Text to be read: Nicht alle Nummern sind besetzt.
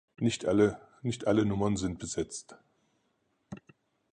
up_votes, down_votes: 0, 4